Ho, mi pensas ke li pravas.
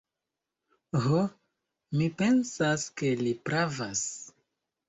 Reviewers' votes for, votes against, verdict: 2, 0, accepted